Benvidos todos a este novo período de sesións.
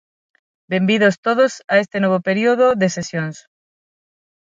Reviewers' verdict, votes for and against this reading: rejected, 3, 6